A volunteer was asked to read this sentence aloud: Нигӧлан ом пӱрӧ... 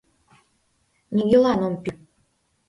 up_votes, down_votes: 0, 2